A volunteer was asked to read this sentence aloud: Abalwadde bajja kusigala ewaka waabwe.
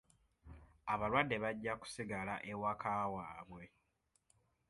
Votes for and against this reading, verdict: 3, 0, accepted